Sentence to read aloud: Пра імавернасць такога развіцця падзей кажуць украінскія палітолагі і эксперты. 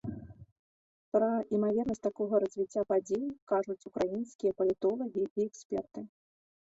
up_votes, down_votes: 2, 0